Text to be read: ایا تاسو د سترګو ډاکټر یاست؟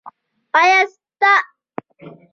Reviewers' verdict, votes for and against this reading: rejected, 1, 2